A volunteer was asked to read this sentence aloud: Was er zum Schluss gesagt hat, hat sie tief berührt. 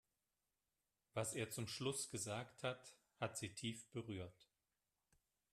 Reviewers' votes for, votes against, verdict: 3, 0, accepted